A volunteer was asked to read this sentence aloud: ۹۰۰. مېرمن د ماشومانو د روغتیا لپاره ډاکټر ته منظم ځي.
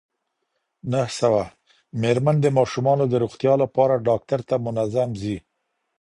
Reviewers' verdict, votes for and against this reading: rejected, 0, 2